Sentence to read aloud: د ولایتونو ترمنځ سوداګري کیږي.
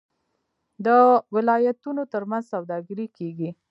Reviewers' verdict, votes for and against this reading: rejected, 1, 2